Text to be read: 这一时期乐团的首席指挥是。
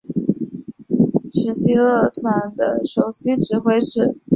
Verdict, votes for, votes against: rejected, 2, 2